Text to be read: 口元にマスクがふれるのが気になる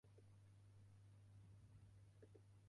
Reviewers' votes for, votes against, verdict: 0, 2, rejected